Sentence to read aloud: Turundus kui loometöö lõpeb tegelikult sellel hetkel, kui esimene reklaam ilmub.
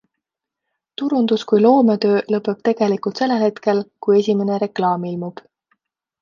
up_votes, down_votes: 2, 0